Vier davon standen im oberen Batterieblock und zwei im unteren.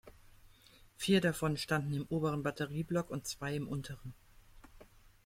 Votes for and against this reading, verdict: 2, 0, accepted